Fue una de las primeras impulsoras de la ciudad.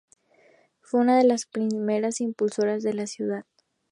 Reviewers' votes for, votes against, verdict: 2, 0, accepted